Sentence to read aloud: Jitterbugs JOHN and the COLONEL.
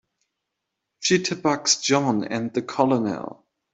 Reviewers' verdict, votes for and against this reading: rejected, 0, 2